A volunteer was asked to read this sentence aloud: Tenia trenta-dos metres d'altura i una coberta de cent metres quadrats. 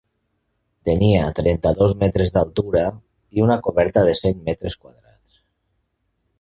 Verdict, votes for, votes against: rejected, 1, 2